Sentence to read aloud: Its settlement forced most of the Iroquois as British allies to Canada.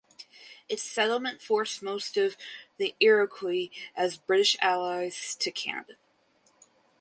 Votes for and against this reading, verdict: 2, 0, accepted